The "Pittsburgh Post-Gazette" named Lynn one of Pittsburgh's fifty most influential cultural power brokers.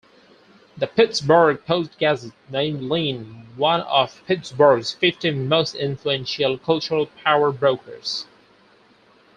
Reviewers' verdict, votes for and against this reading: rejected, 0, 4